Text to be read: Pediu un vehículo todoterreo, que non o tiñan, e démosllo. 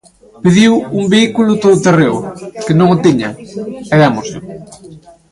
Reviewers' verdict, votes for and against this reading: accepted, 2, 0